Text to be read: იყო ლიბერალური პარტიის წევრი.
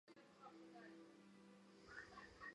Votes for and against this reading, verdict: 1, 2, rejected